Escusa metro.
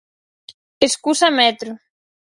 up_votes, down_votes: 4, 0